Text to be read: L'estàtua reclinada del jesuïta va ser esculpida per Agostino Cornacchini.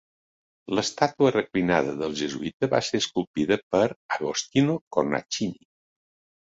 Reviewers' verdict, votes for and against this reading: accepted, 3, 0